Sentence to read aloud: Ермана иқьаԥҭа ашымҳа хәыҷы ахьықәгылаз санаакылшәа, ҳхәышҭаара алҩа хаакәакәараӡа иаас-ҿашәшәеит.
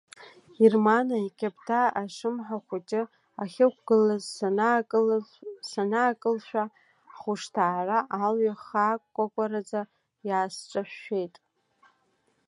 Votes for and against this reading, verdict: 0, 2, rejected